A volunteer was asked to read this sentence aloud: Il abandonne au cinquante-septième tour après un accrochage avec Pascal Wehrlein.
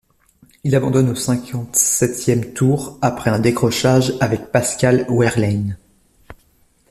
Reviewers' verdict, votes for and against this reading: rejected, 1, 2